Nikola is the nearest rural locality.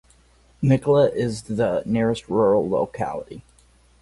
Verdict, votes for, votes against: accepted, 4, 0